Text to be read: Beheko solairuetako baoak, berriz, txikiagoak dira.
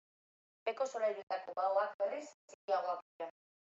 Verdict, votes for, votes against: accepted, 2, 0